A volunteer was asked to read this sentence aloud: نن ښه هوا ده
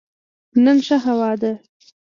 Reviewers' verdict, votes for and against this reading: accepted, 2, 0